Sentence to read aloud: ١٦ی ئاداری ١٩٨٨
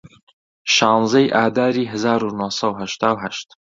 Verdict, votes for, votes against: rejected, 0, 2